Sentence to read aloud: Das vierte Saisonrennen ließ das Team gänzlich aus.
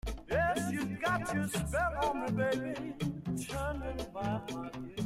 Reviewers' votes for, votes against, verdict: 0, 2, rejected